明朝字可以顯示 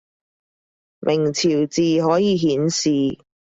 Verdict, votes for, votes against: accepted, 2, 0